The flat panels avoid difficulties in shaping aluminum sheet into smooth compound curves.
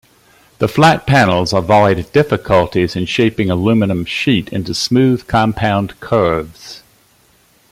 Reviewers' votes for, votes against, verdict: 1, 2, rejected